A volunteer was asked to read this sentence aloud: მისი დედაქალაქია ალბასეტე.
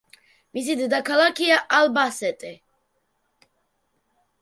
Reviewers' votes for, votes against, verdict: 0, 2, rejected